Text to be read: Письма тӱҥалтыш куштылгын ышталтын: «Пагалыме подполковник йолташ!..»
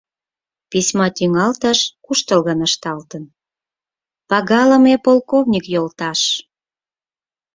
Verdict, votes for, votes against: rejected, 0, 4